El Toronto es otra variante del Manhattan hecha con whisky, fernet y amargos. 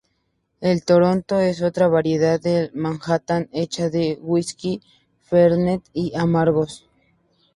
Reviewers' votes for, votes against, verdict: 0, 2, rejected